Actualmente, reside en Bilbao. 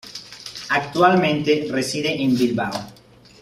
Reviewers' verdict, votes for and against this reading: accepted, 2, 0